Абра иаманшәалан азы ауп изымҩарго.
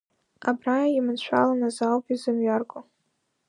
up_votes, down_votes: 1, 2